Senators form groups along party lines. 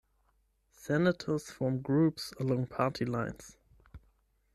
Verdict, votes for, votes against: rejected, 0, 10